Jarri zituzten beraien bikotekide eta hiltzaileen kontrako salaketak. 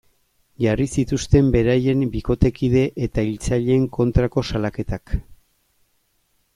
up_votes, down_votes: 2, 0